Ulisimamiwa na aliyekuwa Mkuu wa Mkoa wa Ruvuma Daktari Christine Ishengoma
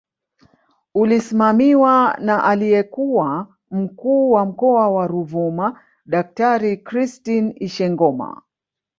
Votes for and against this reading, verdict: 0, 2, rejected